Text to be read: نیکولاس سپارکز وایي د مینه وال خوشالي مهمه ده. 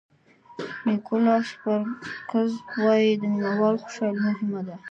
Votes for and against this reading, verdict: 1, 2, rejected